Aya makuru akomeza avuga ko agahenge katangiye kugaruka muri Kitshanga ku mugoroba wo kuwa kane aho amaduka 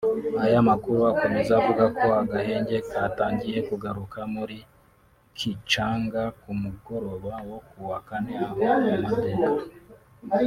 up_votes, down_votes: 0, 2